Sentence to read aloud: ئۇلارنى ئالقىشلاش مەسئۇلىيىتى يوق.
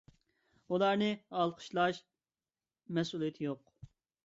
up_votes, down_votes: 2, 0